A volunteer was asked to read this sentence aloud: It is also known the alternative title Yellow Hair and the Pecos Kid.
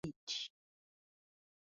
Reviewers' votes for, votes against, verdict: 0, 2, rejected